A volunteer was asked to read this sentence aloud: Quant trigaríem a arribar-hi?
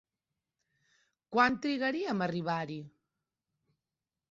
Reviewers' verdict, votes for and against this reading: accepted, 2, 0